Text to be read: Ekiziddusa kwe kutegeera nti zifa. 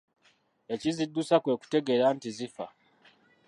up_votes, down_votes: 0, 2